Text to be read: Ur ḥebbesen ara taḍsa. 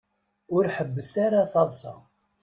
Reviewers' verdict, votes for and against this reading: rejected, 1, 2